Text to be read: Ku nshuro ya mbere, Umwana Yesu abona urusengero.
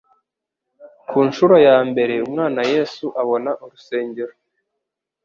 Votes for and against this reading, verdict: 2, 0, accepted